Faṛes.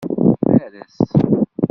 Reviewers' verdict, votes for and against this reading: rejected, 0, 2